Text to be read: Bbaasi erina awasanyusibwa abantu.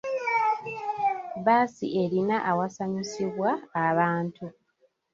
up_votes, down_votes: 1, 2